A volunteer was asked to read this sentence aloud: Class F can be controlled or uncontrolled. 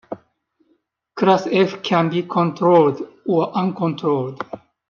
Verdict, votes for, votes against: accepted, 2, 0